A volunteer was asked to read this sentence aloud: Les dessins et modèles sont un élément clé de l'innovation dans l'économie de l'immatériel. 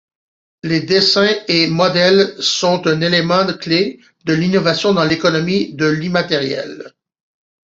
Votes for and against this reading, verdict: 2, 1, accepted